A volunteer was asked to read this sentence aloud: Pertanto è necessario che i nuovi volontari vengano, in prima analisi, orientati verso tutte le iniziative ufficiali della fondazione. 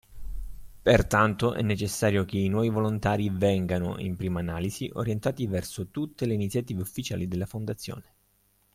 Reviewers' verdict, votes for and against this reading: accepted, 3, 0